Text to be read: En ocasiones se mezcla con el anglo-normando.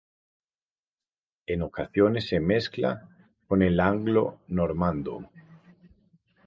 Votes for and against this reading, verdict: 2, 2, rejected